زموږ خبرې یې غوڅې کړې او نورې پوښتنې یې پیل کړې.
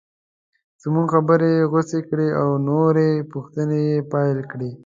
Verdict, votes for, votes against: accepted, 2, 0